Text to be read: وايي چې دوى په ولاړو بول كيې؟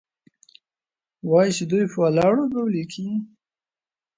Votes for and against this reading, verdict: 2, 0, accepted